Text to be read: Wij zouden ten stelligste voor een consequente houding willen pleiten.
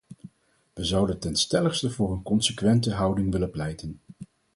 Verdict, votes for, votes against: accepted, 4, 0